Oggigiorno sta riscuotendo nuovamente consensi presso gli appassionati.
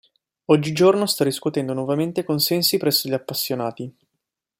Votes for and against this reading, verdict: 2, 0, accepted